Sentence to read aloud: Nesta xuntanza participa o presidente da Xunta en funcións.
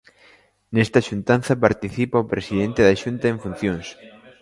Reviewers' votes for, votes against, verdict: 2, 0, accepted